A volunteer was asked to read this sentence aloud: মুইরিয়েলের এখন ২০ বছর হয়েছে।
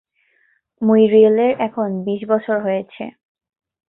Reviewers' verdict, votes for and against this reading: rejected, 0, 2